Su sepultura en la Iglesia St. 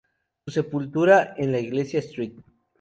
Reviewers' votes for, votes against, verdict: 2, 0, accepted